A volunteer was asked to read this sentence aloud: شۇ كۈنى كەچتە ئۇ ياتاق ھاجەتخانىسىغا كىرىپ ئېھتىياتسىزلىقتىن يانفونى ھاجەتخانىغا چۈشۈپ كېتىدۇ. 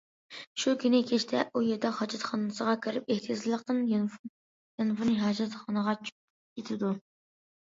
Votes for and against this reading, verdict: 0, 2, rejected